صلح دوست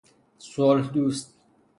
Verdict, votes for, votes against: accepted, 3, 0